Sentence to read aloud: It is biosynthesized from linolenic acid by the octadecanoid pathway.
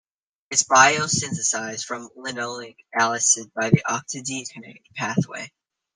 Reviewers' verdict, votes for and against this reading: rejected, 0, 2